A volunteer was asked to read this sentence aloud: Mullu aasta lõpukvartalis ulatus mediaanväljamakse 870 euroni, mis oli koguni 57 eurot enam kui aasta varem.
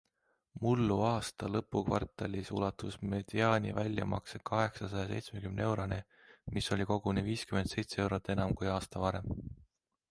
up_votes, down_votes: 0, 2